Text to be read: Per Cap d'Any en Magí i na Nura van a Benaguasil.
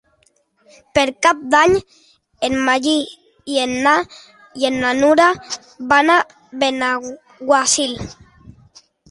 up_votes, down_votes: 0, 2